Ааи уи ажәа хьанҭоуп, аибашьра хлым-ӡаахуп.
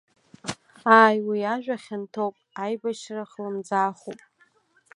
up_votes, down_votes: 2, 0